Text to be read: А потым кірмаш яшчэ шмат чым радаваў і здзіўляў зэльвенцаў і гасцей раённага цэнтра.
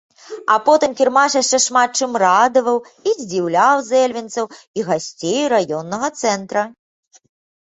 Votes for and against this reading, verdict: 2, 0, accepted